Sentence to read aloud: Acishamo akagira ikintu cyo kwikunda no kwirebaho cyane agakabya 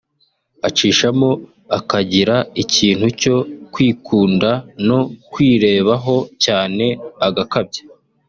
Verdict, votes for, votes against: accepted, 2, 0